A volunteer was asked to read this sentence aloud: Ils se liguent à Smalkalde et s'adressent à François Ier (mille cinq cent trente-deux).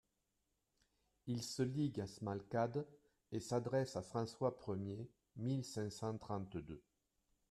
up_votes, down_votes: 2, 0